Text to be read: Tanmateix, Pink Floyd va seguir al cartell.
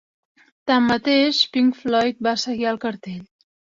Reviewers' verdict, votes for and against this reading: accepted, 3, 0